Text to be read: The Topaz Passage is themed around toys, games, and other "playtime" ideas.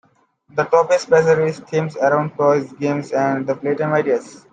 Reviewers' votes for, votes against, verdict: 2, 1, accepted